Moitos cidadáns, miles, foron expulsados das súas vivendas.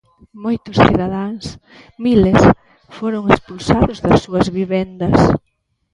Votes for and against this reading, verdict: 2, 1, accepted